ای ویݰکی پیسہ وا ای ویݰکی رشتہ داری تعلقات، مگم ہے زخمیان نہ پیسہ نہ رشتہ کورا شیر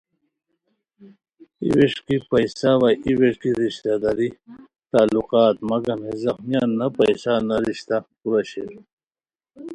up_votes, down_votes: 2, 0